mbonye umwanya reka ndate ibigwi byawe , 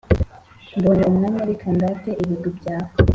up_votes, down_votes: 2, 1